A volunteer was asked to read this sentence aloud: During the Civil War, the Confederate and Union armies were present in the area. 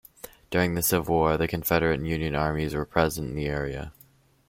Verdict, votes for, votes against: accepted, 2, 0